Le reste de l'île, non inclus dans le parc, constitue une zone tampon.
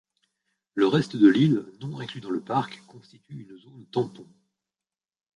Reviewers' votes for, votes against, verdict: 0, 2, rejected